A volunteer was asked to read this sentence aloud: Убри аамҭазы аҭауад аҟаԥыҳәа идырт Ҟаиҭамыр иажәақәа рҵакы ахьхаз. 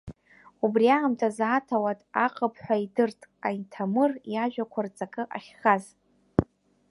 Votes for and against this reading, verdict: 0, 2, rejected